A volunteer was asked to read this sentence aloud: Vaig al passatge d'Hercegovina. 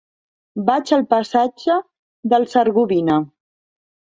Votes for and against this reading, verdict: 0, 2, rejected